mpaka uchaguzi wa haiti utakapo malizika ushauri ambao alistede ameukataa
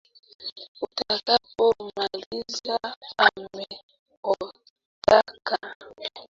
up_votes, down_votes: 0, 2